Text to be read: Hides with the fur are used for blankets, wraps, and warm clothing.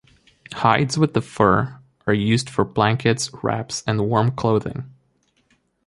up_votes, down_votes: 3, 0